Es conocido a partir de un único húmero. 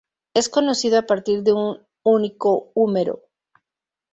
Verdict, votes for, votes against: rejected, 0, 2